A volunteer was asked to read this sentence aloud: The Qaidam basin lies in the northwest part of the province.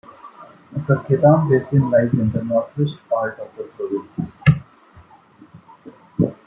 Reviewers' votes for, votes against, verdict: 1, 2, rejected